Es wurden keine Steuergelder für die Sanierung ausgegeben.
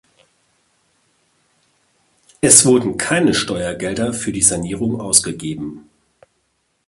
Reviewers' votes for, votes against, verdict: 2, 0, accepted